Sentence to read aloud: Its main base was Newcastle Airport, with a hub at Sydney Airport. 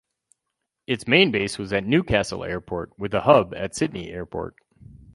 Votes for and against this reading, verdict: 0, 4, rejected